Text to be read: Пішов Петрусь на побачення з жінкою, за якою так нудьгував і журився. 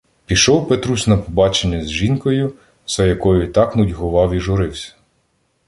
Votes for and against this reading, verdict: 2, 0, accepted